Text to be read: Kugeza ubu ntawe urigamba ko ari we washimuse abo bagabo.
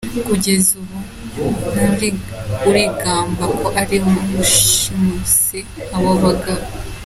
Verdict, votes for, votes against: accepted, 2, 1